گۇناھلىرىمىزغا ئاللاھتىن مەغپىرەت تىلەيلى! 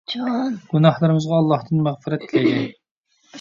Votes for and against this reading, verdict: 0, 2, rejected